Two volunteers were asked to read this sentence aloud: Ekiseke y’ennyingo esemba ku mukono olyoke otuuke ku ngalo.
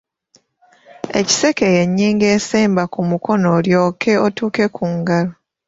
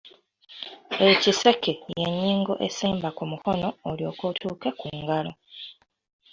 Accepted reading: first